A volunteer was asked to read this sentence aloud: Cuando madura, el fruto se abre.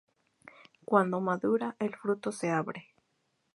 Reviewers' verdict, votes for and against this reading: accepted, 4, 0